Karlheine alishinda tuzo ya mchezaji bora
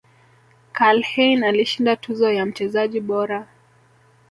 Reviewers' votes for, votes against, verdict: 2, 0, accepted